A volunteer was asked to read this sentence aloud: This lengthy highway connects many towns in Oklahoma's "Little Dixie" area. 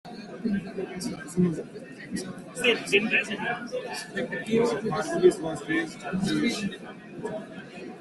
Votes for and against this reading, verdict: 0, 2, rejected